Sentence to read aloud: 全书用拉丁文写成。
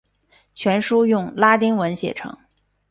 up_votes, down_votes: 3, 0